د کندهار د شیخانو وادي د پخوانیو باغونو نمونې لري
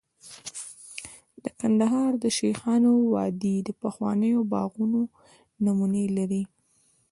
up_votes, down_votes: 2, 0